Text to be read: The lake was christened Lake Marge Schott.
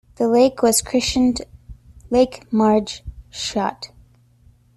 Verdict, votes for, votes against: rejected, 0, 2